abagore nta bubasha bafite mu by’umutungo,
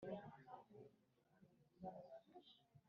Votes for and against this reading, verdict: 3, 2, accepted